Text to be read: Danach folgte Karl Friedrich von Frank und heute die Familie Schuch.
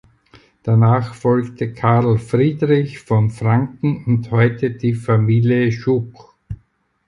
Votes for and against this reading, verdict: 0, 4, rejected